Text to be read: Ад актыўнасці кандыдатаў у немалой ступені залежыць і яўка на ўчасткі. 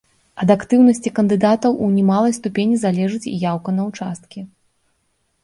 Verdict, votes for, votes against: rejected, 1, 2